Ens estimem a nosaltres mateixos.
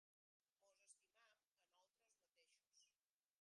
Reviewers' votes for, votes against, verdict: 0, 2, rejected